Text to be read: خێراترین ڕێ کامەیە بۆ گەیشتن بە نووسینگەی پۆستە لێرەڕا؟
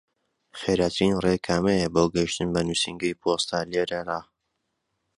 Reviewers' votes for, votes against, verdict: 2, 0, accepted